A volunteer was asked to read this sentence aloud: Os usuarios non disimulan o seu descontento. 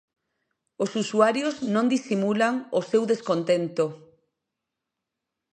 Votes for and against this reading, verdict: 2, 1, accepted